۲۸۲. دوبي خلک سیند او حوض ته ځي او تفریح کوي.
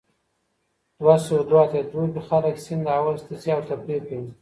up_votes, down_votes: 0, 2